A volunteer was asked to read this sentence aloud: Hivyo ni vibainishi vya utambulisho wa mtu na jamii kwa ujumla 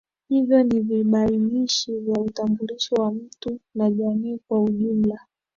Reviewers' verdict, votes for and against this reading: accepted, 2, 0